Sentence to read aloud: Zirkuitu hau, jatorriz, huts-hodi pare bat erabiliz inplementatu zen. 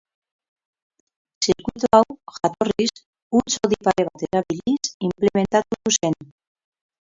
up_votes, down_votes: 0, 4